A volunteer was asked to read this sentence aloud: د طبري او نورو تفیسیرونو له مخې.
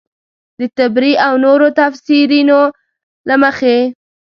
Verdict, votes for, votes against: rejected, 1, 2